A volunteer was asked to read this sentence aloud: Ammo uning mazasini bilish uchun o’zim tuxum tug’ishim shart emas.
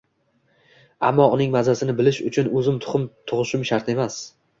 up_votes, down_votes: 2, 0